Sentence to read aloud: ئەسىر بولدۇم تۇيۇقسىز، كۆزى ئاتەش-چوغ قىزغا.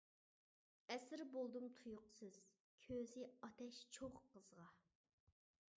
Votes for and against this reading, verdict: 1, 2, rejected